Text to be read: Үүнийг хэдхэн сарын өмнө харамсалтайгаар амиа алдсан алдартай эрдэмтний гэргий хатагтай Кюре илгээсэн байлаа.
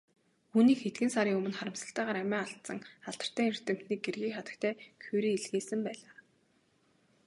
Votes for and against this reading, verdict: 2, 0, accepted